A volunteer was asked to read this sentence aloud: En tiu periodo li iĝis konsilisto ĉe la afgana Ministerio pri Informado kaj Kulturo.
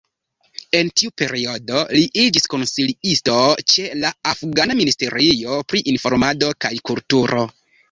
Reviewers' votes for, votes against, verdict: 2, 1, accepted